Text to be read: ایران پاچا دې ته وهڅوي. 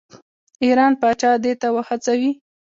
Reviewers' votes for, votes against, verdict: 2, 1, accepted